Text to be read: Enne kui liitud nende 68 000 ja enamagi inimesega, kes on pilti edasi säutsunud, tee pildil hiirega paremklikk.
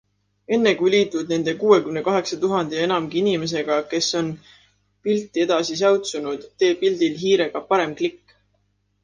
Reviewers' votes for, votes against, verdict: 0, 2, rejected